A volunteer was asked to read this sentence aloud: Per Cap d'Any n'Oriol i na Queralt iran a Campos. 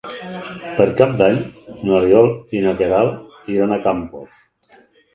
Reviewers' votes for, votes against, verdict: 2, 4, rejected